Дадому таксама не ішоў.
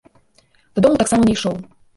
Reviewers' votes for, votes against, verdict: 1, 2, rejected